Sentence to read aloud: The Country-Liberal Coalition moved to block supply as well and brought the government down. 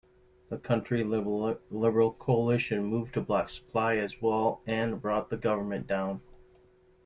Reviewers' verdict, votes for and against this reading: rejected, 0, 2